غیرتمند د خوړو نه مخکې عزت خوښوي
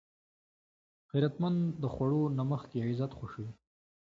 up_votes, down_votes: 2, 0